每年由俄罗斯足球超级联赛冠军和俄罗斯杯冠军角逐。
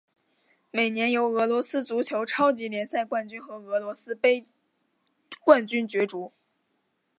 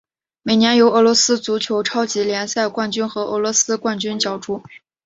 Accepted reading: first